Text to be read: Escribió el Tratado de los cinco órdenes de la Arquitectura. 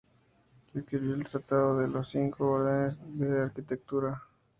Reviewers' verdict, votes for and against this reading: rejected, 0, 2